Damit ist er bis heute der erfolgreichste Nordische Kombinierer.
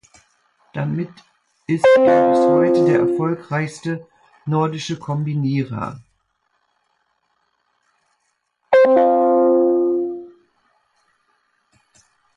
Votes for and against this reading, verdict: 1, 2, rejected